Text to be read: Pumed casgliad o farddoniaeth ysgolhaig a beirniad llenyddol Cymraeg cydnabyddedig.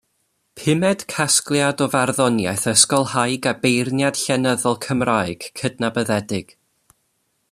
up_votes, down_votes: 2, 0